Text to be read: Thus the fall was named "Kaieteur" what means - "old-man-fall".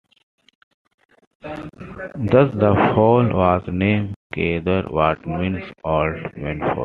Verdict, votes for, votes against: rejected, 0, 2